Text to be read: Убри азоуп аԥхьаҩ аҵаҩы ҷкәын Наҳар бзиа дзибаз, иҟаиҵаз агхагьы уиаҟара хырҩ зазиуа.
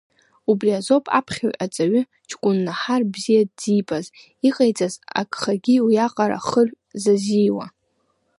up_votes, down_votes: 2, 1